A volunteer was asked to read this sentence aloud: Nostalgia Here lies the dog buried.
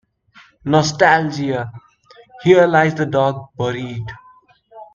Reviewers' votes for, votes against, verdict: 1, 2, rejected